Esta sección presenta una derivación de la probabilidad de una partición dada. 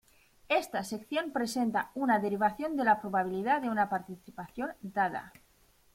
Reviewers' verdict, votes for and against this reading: rejected, 0, 2